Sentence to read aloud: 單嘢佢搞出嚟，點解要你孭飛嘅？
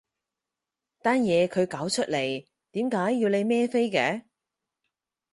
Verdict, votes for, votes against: accepted, 4, 2